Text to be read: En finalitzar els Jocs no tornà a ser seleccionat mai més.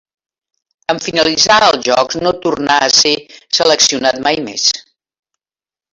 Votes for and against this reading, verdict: 1, 2, rejected